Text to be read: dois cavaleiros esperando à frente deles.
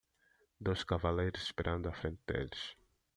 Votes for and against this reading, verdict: 1, 2, rejected